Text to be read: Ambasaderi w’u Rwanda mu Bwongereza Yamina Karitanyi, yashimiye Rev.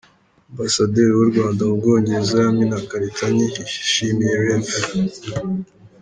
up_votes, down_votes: 2, 0